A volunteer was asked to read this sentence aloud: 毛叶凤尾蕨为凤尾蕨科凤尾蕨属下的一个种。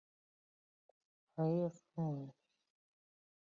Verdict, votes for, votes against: rejected, 5, 5